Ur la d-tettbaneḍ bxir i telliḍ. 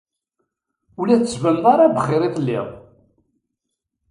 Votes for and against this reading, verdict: 1, 2, rejected